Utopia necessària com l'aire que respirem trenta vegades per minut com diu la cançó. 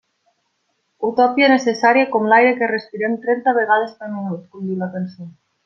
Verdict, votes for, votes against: rejected, 0, 2